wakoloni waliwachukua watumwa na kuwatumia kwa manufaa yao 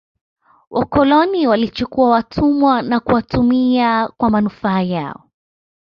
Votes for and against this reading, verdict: 1, 2, rejected